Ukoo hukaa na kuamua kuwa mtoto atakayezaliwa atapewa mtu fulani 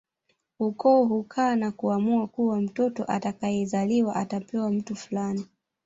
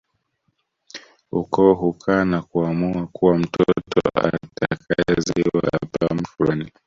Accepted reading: first